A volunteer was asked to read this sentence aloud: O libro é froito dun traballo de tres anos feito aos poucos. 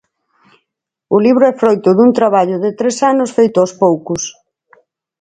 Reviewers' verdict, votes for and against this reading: accepted, 4, 0